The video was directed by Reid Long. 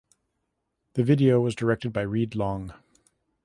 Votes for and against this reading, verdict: 2, 0, accepted